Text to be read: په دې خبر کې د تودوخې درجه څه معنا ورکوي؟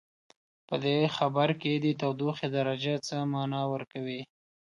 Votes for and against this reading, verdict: 2, 0, accepted